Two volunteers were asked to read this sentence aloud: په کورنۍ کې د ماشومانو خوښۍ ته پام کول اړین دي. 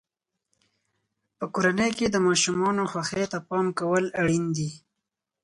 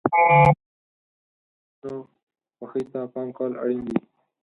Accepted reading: first